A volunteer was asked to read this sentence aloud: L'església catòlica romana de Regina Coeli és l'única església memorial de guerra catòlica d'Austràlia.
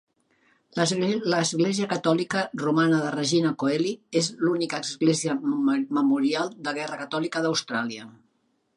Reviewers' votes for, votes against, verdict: 1, 2, rejected